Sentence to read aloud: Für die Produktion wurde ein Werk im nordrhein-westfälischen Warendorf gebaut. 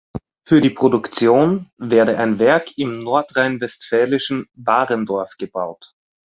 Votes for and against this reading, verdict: 0, 2, rejected